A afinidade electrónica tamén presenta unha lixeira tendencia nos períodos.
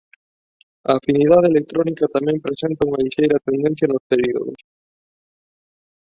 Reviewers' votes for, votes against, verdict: 0, 2, rejected